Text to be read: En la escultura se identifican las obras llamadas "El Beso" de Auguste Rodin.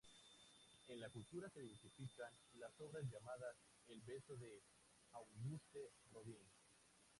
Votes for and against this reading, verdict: 0, 2, rejected